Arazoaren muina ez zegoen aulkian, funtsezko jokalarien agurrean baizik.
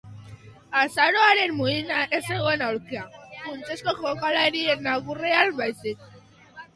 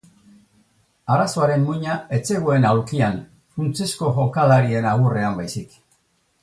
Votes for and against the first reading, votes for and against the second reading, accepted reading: 0, 2, 4, 0, second